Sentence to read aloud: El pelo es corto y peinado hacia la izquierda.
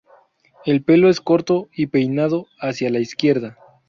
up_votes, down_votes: 2, 0